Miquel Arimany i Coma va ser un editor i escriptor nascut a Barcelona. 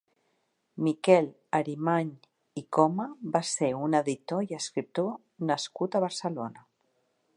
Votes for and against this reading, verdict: 2, 0, accepted